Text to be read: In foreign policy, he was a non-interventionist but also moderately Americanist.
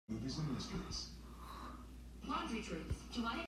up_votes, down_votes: 0, 2